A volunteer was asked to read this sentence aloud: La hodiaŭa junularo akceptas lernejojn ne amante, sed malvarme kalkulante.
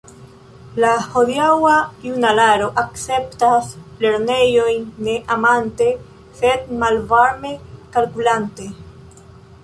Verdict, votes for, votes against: rejected, 1, 2